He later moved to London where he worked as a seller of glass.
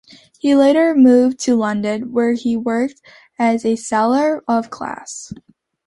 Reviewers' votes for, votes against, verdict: 2, 0, accepted